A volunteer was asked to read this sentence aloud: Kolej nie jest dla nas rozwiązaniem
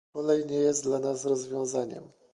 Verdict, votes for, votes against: accepted, 2, 0